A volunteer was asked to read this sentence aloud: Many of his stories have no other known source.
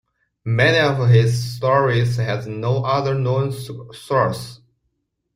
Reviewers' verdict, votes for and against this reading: rejected, 1, 2